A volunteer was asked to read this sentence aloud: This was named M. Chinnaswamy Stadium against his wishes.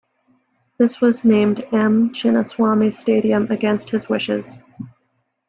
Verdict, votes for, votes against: accepted, 2, 0